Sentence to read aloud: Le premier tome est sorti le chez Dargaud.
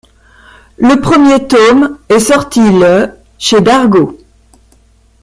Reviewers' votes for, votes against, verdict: 1, 2, rejected